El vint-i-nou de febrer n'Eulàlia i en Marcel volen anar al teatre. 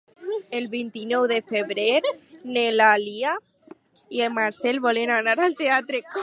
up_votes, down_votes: 0, 4